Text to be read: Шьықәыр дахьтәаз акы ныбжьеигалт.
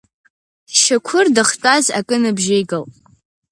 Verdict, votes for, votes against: accepted, 4, 2